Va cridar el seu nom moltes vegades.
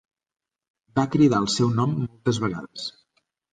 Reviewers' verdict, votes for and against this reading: rejected, 0, 2